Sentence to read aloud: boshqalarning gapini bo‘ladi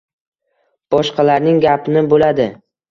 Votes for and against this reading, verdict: 2, 1, accepted